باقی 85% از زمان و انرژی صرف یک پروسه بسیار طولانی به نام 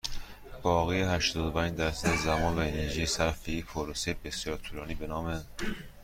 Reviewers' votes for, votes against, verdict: 0, 2, rejected